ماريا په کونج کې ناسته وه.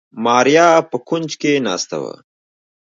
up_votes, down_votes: 0, 2